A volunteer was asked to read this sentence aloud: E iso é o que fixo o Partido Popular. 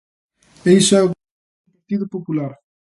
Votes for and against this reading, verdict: 0, 2, rejected